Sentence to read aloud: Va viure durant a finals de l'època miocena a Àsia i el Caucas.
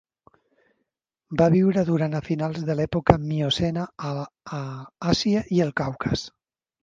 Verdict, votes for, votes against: rejected, 0, 2